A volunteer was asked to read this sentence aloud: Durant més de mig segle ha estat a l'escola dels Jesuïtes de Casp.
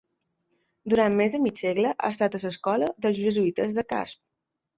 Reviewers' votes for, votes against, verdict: 2, 1, accepted